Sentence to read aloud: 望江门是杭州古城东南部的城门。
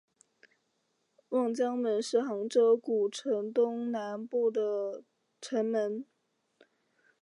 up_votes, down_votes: 2, 0